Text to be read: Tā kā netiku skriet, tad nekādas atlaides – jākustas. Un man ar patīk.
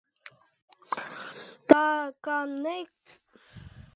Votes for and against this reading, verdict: 0, 2, rejected